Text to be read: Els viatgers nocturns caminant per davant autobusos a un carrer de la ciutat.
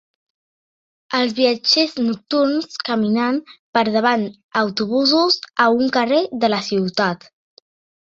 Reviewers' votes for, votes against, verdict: 2, 0, accepted